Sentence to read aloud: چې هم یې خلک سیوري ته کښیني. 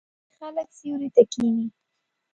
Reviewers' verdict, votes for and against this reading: rejected, 1, 2